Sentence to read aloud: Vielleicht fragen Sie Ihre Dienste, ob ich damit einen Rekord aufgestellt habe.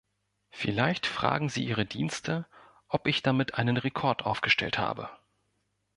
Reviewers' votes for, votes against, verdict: 2, 0, accepted